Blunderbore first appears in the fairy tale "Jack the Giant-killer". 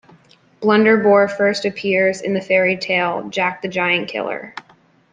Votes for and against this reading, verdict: 2, 0, accepted